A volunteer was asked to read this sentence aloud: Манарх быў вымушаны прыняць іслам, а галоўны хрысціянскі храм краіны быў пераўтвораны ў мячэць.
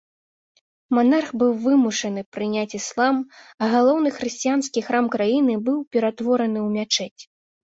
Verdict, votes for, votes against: accepted, 2, 0